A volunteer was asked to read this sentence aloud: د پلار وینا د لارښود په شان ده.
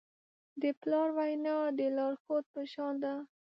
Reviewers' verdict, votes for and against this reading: accepted, 2, 0